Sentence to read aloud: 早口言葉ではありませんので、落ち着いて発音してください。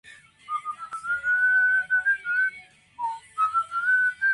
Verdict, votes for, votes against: rejected, 0, 4